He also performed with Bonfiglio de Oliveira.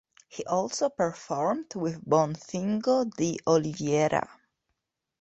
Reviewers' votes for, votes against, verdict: 1, 2, rejected